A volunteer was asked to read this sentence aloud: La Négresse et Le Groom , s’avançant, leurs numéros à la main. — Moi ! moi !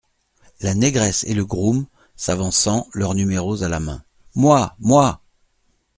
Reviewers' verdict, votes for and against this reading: accepted, 2, 0